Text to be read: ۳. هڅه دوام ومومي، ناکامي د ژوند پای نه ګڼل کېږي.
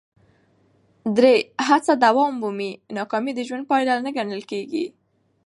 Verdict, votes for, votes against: rejected, 0, 2